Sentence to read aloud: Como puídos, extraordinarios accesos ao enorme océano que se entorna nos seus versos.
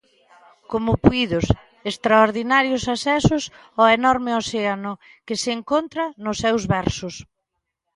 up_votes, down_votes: 0, 2